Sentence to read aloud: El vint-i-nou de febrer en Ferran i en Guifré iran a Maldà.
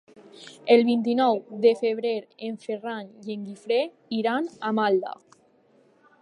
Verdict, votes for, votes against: rejected, 1, 2